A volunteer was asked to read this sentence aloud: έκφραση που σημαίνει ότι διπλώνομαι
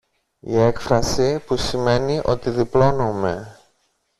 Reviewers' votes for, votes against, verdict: 1, 2, rejected